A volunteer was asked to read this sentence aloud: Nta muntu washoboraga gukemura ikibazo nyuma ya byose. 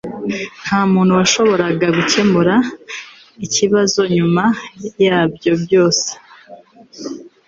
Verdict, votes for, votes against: rejected, 0, 2